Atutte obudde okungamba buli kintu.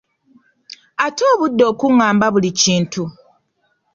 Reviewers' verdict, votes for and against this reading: rejected, 1, 2